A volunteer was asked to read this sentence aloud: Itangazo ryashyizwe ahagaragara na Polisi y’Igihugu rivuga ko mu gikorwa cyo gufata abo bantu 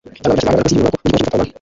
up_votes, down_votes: 0, 2